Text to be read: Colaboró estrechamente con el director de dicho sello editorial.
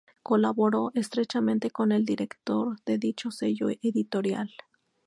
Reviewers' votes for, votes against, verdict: 0, 2, rejected